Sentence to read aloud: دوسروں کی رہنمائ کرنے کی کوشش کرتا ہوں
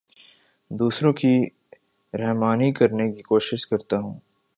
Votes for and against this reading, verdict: 0, 2, rejected